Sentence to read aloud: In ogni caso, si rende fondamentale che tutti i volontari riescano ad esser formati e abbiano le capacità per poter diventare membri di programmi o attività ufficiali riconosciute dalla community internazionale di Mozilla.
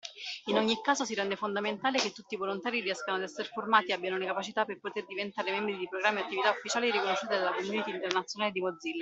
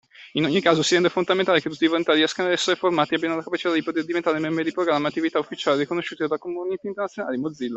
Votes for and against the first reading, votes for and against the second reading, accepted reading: 2, 0, 1, 2, first